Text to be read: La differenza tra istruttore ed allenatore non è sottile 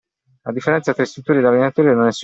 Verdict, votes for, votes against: rejected, 0, 2